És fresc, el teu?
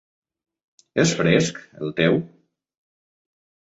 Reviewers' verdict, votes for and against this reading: accepted, 3, 0